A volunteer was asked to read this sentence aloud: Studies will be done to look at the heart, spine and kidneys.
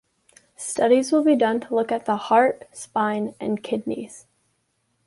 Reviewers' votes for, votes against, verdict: 2, 0, accepted